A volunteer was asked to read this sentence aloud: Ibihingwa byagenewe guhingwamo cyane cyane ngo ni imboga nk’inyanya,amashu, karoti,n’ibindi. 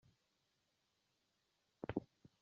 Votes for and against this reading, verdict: 0, 2, rejected